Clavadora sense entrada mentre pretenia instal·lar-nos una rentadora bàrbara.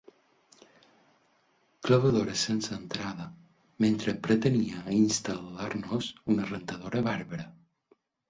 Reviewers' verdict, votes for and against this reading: accepted, 4, 0